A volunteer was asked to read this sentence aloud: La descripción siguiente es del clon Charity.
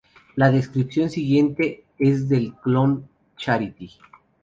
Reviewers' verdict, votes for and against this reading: accepted, 2, 0